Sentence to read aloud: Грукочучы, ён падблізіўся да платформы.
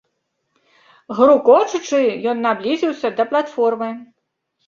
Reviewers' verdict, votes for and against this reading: accepted, 2, 0